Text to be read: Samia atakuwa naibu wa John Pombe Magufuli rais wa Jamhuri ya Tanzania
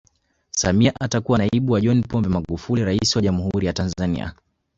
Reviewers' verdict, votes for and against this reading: accepted, 3, 1